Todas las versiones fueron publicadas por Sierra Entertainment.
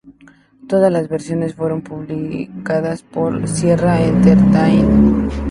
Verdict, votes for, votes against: accepted, 2, 0